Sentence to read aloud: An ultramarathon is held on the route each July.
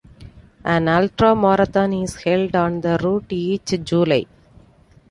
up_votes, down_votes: 2, 0